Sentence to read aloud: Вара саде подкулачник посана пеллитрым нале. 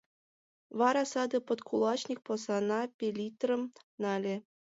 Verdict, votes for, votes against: accepted, 2, 0